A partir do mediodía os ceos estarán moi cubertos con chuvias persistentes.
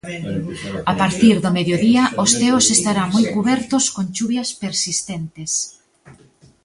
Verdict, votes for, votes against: accepted, 2, 0